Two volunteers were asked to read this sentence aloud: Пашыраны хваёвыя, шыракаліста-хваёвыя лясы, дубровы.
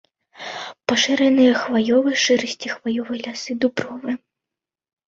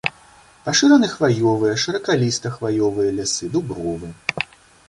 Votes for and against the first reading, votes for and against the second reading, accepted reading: 0, 2, 2, 0, second